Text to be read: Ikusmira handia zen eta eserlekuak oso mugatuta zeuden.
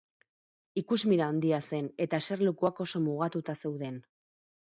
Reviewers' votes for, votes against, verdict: 4, 0, accepted